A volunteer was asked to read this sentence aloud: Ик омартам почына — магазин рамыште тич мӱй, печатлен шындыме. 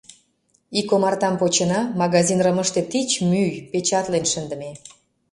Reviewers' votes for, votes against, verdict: 0, 2, rejected